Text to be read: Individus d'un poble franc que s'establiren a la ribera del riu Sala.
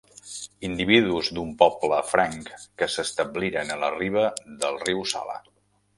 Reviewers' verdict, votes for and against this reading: rejected, 0, 2